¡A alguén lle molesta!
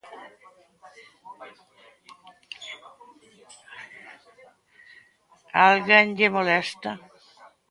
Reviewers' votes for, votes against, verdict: 1, 2, rejected